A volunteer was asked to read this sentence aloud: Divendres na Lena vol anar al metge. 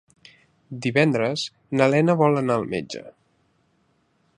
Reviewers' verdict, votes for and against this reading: accepted, 3, 0